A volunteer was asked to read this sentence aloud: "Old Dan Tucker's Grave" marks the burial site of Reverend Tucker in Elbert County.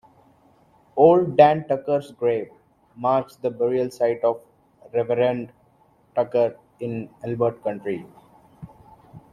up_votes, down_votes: 0, 2